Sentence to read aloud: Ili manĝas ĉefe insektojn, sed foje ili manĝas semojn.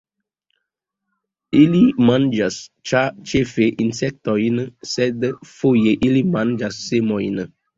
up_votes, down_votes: 2, 0